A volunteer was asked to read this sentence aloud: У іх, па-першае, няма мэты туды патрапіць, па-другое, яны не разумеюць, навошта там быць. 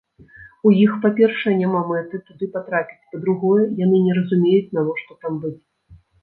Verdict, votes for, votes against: rejected, 1, 2